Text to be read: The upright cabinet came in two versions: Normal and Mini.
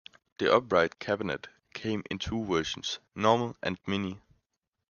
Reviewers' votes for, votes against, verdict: 1, 2, rejected